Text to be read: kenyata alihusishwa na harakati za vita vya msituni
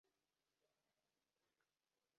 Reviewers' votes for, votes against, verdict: 0, 2, rejected